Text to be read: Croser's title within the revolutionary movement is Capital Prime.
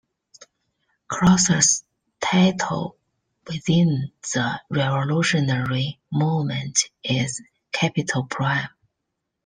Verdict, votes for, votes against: accepted, 2, 0